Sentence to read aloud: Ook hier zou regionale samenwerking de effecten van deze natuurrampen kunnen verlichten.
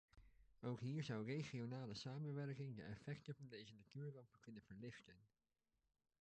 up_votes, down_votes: 0, 2